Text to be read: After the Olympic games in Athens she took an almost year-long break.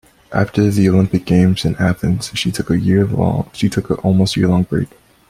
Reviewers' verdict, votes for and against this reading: rejected, 0, 2